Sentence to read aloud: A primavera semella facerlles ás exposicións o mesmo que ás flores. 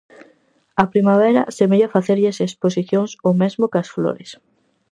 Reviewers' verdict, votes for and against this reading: rejected, 0, 4